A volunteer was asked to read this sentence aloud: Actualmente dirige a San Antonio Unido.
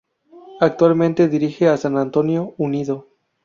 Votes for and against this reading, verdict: 2, 0, accepted